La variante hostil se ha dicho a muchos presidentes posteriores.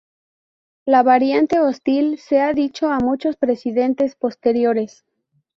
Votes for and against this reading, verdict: 4, 0, accepted